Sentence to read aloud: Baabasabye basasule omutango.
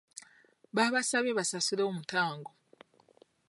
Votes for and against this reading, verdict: 2, 0, accepted